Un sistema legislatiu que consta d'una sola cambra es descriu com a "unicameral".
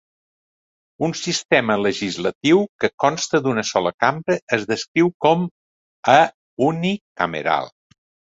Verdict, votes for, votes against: accepted, 3, 0